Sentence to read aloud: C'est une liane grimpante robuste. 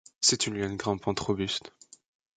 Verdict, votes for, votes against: accepted, 2, 0